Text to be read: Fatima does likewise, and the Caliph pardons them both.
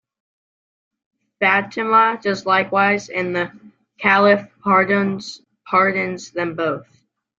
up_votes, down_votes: 0, 2